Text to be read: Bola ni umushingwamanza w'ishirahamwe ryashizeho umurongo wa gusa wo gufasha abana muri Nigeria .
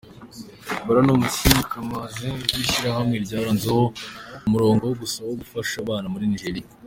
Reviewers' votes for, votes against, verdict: 0, 2, rejected